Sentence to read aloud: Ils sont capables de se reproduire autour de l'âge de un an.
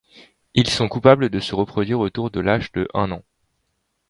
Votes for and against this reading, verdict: 2, 0, accepted